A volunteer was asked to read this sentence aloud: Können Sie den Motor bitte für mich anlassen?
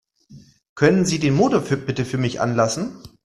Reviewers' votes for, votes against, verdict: 0, 2, rejected